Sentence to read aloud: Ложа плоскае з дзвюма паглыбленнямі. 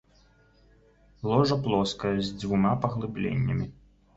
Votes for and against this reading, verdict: 2, 0, accepted